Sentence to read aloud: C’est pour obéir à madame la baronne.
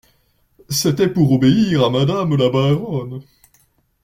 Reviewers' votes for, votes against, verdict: 0, 2, rejected